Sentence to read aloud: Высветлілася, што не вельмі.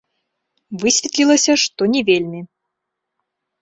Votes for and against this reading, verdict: 2, 0, accepted